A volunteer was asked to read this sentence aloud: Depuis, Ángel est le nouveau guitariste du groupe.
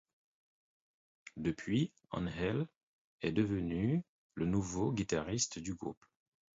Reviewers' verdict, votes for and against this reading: rejected, 0, 4